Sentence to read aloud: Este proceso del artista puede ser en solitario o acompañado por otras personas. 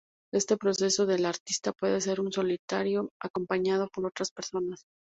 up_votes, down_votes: 0, 2